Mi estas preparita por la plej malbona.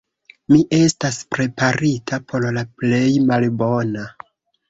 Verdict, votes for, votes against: rejected, 1, 2